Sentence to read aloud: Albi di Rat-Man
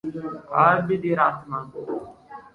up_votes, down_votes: 2, 0